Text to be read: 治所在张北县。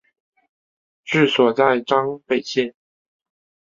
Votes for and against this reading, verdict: 3, 0, accepted